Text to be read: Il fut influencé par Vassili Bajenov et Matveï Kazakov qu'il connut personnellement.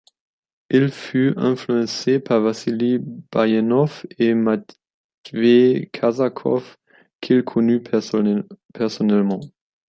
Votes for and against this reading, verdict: 1, 2, rejected